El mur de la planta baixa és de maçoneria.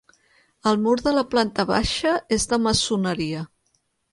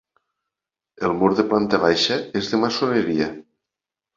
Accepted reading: first